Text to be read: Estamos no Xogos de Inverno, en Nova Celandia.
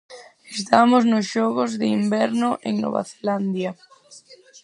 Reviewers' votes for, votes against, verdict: 4, 0, accepted